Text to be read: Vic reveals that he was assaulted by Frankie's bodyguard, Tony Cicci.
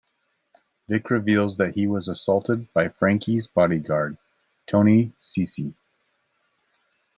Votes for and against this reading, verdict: 2, 0, accepted